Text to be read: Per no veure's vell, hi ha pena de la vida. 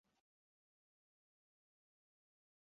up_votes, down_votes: 0, 2